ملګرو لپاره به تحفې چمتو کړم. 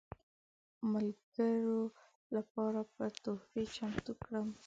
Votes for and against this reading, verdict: 1, 2, rejected